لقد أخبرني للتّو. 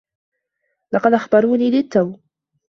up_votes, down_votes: 0, 2